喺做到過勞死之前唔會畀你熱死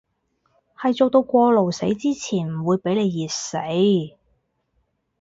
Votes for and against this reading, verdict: 2, 2, rejected